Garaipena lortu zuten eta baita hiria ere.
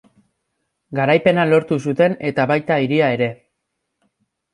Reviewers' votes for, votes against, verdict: 2, 0, accepted